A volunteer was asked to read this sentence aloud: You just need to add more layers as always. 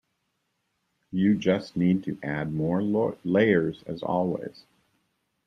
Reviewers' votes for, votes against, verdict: 0, 2, rejected